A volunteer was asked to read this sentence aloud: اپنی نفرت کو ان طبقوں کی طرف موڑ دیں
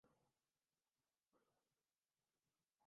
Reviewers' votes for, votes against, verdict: 0, 2, rejected